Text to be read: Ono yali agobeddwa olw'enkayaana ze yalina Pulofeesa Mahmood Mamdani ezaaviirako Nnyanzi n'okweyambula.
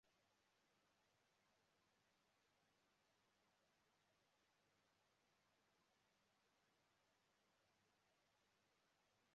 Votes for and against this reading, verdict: 0, 2, rejected